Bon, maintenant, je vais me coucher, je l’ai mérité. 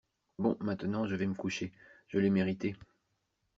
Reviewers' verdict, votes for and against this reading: accepted, 2, 0